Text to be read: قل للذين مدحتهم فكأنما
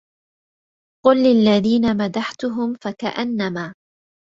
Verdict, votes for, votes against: accepted, 2, 0